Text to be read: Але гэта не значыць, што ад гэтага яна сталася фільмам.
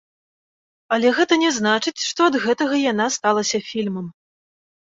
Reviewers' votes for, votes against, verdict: 3, 0, accepted